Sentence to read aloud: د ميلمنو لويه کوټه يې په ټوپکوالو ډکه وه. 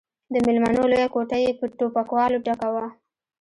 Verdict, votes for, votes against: accepted, 2, 0